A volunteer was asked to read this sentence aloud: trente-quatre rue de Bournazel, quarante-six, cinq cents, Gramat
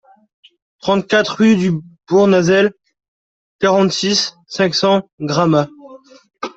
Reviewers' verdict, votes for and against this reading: rejected, 1, 2